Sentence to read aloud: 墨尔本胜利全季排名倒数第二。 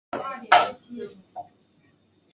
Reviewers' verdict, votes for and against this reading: rejected, 0, 3